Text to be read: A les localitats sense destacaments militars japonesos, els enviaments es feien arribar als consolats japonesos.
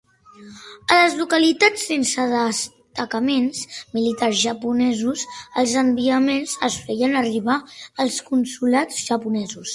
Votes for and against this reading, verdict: 2, 0, accepted